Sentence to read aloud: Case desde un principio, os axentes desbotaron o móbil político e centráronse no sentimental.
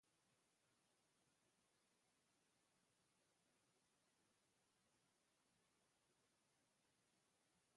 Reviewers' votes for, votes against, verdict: 0, 2, rejected